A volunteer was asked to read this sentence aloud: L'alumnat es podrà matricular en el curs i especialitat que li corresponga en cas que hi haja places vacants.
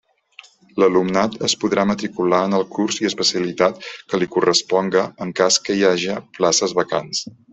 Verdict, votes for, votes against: accepted, 3, 0